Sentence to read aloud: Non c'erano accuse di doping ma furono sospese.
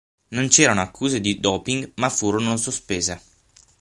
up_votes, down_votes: 6, 0